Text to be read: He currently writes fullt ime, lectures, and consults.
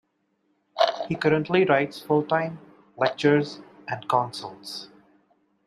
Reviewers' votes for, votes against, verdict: 1, 2, rejected